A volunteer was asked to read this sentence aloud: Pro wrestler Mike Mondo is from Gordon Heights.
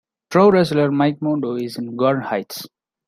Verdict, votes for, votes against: rejected, 1, 2